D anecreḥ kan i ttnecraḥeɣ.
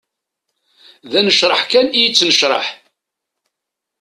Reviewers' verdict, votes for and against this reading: rejected, 0, 2